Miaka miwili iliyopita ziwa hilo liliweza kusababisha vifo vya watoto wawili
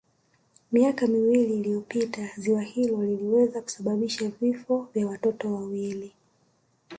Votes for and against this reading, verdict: 3, 0, accepted